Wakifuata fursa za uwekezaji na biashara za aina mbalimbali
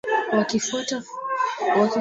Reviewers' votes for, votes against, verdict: 0, 2, rejected